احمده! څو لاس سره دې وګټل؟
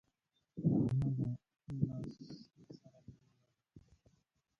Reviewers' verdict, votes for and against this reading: rejected, 0, 2